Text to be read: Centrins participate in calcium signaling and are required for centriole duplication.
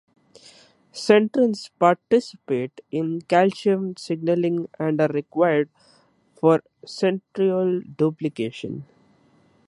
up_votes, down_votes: 3, 2